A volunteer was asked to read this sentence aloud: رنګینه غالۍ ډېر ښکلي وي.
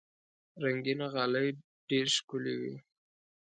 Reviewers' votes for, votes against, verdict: 2, 0, accepted